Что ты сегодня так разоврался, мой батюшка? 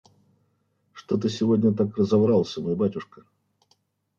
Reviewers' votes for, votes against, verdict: 2, 0, accepted